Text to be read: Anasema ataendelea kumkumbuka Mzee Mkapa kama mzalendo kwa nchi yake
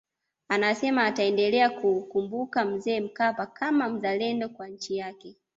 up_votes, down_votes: 2, 0